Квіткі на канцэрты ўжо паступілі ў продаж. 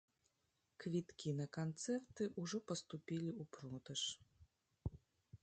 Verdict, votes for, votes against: rejected, 1, 2